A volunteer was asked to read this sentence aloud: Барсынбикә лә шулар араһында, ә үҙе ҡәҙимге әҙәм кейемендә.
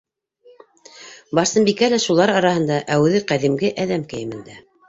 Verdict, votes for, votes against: accepted, 2, 0